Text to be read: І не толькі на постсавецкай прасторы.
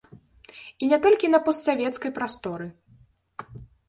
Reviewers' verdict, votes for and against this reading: accepted, 2, 1